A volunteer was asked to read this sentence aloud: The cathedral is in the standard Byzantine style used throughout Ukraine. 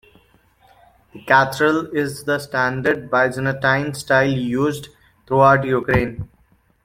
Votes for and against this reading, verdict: 1, 2, rejected